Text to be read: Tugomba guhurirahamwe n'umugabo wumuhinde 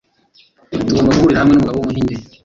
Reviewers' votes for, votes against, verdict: 0, 2, rejected